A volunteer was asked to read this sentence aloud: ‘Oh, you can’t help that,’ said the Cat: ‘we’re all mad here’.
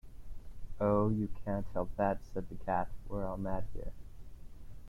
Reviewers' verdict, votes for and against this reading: rejected, 1, 2